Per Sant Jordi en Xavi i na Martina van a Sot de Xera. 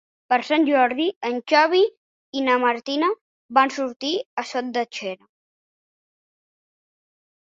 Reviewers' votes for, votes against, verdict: 1, 2, rejected